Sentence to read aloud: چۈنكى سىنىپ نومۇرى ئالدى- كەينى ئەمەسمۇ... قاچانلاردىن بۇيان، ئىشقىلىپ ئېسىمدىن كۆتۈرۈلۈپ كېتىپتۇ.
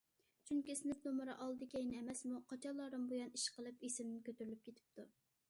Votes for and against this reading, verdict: 2, 0, accepted